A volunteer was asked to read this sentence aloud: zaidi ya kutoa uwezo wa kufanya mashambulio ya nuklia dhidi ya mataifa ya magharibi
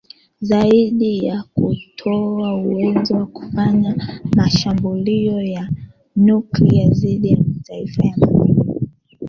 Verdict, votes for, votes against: accepted, 2, 0